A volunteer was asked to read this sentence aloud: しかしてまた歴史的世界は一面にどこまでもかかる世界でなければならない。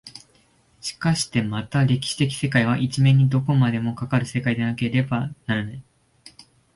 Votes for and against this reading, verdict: 2, 0, accepted